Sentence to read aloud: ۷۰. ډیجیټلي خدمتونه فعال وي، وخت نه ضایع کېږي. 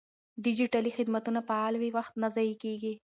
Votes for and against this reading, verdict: 0, 2, rejected